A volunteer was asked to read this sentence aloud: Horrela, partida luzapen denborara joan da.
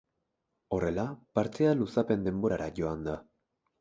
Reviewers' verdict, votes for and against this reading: rejected, 2, 2